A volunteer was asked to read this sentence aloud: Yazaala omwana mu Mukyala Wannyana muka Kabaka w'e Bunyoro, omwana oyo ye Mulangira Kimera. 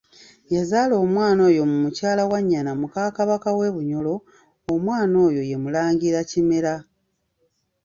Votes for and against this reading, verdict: 1, 2, rejected